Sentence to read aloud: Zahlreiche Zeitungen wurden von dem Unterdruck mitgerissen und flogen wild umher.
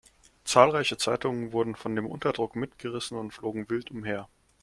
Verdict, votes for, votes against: accepted, 2, 0